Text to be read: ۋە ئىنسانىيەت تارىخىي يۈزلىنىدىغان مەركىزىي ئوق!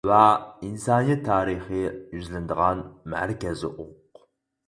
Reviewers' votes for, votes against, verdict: 2, 4, rejected